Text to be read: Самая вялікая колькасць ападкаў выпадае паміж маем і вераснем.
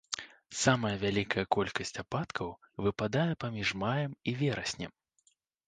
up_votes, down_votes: 2, 0